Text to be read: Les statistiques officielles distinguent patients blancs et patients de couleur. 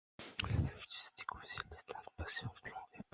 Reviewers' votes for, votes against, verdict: 0, 2, rejected